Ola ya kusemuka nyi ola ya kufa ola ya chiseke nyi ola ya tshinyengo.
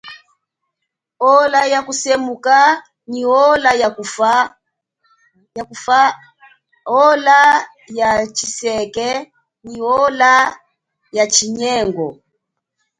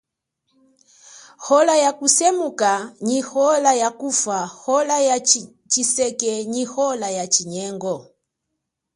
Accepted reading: second